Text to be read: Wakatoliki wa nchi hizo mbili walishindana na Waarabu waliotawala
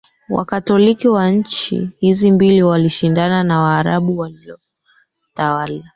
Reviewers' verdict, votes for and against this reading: rejected, 0, 2